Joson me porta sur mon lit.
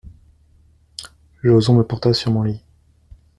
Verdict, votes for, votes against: accepted, 2, 0